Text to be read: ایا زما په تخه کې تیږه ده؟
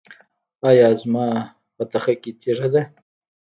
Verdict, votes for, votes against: rejected, 1, 2